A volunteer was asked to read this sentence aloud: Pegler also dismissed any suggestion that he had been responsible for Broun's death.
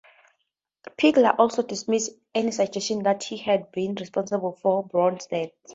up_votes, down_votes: 4, 0